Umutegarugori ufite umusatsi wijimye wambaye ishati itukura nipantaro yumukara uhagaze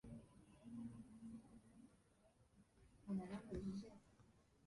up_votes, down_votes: 0, 2